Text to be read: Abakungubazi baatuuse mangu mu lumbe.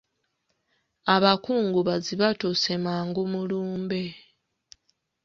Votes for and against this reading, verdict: 0, 2, rejected